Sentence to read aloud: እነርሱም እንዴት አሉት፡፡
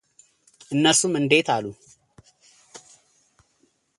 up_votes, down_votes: 2, 0